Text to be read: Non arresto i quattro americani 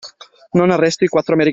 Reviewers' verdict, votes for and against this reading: rejected, 0, 2